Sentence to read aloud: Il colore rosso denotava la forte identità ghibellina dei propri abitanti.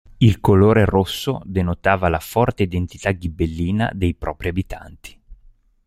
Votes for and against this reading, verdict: 2, 0, accepted